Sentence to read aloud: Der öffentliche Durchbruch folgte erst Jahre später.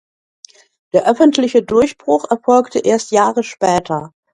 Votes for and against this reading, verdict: 0, 2, rejected